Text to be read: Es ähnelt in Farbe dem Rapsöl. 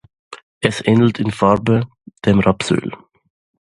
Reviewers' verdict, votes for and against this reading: accepted, 2, 0